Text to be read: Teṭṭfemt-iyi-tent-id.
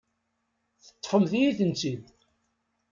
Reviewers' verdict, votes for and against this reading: accepted, 2, 0